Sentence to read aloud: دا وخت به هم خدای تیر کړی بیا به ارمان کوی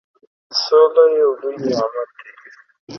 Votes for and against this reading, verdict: 0, 2, rejected